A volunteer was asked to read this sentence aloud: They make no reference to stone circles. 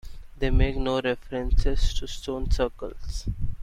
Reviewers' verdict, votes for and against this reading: rejected, 0, 2